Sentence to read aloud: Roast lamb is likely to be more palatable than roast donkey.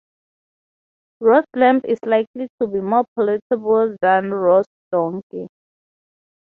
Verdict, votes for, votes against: rejected, 0, 6